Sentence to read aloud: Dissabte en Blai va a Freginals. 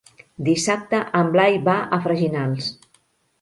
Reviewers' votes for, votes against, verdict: 3, 0, accepted